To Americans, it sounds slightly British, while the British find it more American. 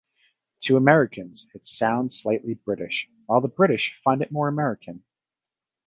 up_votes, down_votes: 2, 0